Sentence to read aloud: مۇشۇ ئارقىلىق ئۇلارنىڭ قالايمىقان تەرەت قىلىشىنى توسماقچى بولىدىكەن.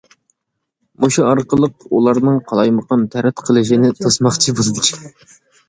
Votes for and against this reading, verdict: 1, 2, rejected